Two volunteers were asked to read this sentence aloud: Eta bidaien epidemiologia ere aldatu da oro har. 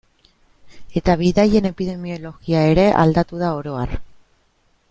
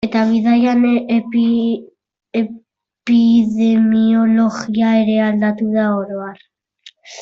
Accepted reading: first